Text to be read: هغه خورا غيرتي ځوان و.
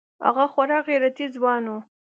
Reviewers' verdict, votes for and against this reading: accepted, 2, 0